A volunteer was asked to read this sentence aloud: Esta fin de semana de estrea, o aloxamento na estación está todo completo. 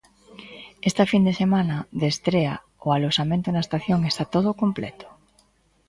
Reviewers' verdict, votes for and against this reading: accepted, 2, 0